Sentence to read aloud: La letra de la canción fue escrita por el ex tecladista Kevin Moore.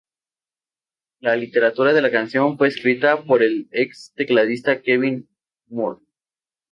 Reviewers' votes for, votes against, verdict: 0, 2, rejected